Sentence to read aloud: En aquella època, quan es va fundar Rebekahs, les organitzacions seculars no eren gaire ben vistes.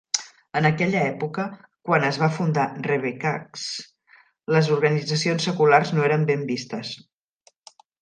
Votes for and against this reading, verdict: 0, 2, rejected